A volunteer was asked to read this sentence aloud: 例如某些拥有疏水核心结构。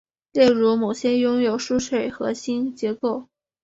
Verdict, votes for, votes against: accepted, 3, 0